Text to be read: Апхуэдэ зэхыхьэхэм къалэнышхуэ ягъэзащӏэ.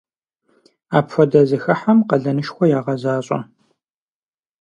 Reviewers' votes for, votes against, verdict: 2, 4, rejected